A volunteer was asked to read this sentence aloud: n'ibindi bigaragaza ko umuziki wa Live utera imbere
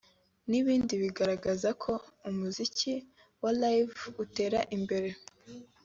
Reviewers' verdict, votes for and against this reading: accepted, 2, 0